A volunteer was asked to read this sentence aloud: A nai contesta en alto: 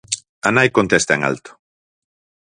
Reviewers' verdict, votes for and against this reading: accepted, 4, 0